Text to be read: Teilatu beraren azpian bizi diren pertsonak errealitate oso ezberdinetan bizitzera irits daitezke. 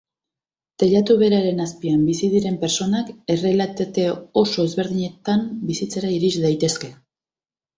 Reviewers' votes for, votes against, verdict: 1, 2, rejected